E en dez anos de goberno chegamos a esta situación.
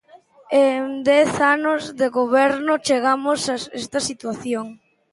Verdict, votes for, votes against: rejected, 0, 2